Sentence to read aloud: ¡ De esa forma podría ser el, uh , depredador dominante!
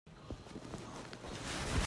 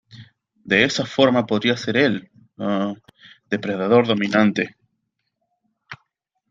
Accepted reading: second